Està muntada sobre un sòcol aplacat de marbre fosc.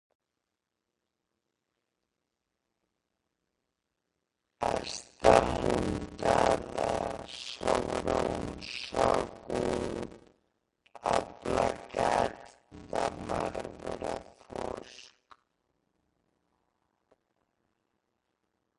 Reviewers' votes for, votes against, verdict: 0, 2, rejected